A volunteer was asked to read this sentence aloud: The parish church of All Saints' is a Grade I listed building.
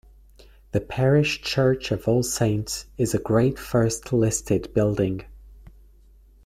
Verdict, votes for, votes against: rejected, 0, 2